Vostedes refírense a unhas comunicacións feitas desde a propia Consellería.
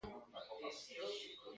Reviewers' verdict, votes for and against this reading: rejected, 0, 2